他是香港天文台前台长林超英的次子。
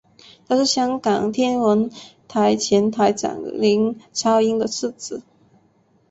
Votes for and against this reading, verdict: 2, 0, accepted